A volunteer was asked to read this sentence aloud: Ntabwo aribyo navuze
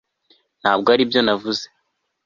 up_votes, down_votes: 2, 0